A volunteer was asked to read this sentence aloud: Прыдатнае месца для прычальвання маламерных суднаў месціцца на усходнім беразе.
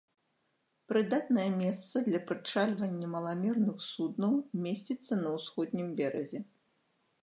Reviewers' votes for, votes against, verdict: 2, 0, accepted